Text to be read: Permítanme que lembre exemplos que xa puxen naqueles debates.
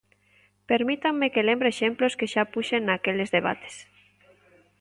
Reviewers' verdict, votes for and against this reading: accepted, 2, 0